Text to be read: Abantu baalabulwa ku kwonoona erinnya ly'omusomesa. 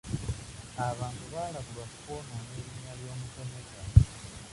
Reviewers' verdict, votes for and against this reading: rejected, 0, 2